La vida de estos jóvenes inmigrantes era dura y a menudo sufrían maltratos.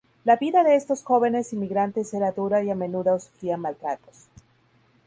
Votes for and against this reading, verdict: 0, 2, rejected